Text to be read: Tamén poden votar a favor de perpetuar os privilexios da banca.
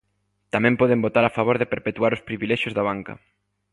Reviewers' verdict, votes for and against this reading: accepted, 2, 0